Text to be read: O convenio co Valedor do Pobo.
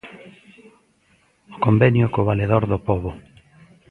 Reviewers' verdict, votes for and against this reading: accepted, 2, 1